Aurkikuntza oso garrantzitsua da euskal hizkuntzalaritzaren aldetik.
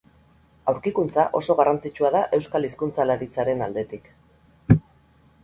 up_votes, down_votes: 0, 2